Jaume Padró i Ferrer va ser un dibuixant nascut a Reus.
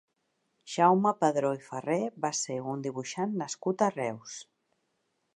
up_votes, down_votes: 2, 1